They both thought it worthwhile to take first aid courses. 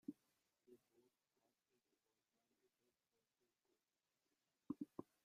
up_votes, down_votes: 0, 2